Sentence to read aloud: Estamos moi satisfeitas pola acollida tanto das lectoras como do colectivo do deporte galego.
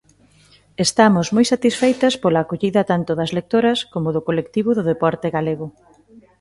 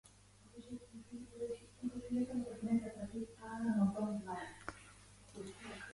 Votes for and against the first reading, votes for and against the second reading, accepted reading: 2, 0, 0, 2, first